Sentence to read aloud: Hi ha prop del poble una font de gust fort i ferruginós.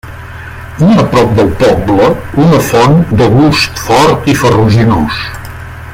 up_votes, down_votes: 1, 2